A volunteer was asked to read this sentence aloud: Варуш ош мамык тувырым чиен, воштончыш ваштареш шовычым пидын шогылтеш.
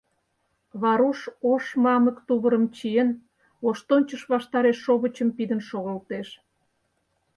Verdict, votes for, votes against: accepted, 4, 0